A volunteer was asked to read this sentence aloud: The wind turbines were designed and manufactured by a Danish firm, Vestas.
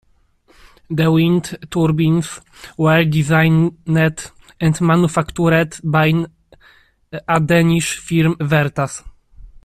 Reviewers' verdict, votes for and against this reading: rejected, 1, 2